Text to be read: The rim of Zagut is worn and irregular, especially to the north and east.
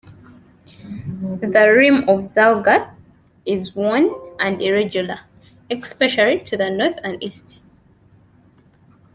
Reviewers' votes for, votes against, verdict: 0, 2, rejected